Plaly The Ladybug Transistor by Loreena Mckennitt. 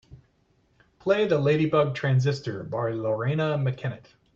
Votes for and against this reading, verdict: 2, 0, accepted